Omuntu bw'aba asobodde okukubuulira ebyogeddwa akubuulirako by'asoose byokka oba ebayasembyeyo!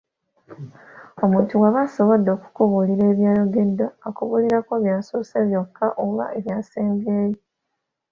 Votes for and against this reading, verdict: 2, 0, accepted